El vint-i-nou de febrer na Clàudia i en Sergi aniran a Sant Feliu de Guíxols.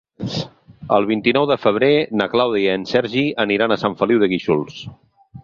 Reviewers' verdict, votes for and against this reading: accepted, 6, 0